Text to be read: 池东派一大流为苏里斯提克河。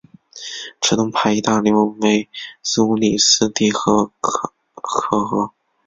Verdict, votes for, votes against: rejected, 1, 3